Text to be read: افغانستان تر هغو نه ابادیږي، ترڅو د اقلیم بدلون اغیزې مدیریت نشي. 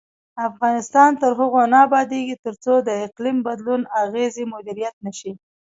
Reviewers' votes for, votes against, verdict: 2, 0, accepted